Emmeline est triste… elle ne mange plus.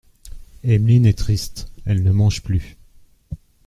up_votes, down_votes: 2, 0